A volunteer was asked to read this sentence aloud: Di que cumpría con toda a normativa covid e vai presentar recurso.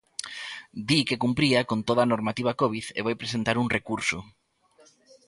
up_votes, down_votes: 0, 2